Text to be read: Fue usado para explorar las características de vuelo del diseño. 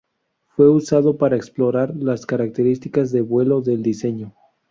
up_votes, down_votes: 2, 0